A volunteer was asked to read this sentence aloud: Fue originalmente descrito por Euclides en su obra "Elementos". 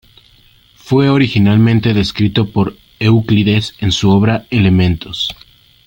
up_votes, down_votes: 2, 1